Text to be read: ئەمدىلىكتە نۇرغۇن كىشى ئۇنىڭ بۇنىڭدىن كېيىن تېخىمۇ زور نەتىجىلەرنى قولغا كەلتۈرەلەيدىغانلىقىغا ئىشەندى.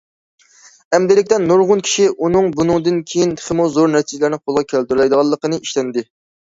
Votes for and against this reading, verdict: 0, 2, rejected